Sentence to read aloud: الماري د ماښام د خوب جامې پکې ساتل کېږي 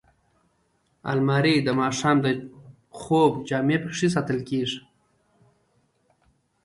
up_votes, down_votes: 1, 2